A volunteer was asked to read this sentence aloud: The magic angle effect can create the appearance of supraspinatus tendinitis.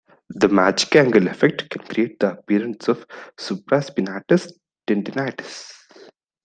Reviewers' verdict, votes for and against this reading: rejected, 1, 2